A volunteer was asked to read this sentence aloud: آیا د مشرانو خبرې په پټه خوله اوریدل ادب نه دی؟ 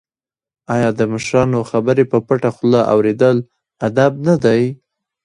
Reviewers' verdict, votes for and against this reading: rejected, 0, 2